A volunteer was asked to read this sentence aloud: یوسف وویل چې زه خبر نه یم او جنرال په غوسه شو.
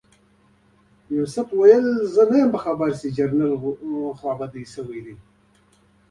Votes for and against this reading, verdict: 3, 1, accepted